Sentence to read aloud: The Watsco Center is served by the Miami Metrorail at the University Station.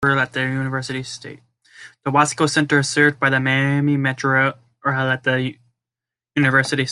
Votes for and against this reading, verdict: 0, 2, rejected